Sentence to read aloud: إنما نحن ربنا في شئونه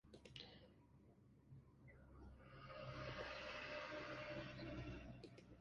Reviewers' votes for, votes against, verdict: 0, 2, rejected